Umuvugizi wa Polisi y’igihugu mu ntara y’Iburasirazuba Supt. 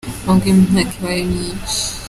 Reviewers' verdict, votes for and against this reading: rejected, 0, 3